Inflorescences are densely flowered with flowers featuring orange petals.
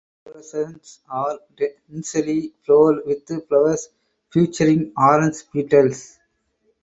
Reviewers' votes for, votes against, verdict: 2, 2, rejected